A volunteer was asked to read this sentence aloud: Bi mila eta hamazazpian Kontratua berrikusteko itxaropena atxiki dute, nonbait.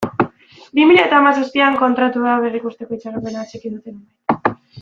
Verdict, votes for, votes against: rejected, 0, 2